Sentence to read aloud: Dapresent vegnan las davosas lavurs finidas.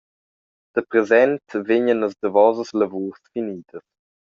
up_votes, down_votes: 2, 0